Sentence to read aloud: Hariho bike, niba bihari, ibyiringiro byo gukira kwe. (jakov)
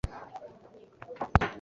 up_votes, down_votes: 0, 2